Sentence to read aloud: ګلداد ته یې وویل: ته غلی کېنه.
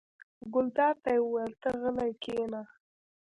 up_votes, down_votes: 0, 2